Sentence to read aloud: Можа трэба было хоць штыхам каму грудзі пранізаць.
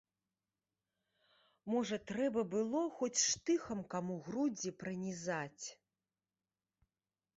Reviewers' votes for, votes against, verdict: 2, 0, accepted